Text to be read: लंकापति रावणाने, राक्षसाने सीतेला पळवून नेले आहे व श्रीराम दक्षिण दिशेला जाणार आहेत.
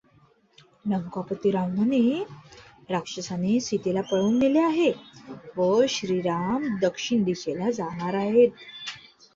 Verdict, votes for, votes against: rejected, 1, 2